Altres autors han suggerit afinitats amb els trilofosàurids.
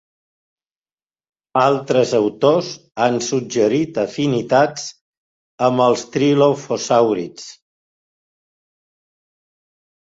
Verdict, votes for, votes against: accepted, 2, 1